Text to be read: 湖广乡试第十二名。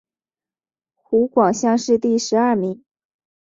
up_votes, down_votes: 3, 1